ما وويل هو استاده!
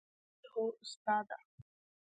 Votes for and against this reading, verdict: 3, 1, accepted